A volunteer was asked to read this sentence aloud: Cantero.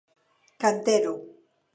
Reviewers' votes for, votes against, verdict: 21, 2, accepted